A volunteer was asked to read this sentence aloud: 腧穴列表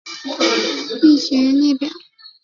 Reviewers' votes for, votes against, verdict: 2, 0, accepted